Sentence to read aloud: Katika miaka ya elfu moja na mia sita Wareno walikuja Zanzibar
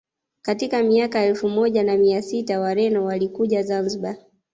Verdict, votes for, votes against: accepted, 2, 0